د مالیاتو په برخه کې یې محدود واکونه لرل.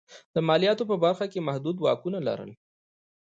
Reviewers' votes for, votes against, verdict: 2, 0, accepted